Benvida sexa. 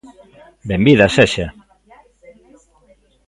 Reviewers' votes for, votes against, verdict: 2, 0, accepted